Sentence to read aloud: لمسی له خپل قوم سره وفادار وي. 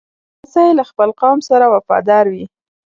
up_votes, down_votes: 1, 2